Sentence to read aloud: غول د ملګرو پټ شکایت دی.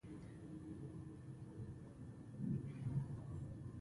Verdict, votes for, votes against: rejected, 1, 2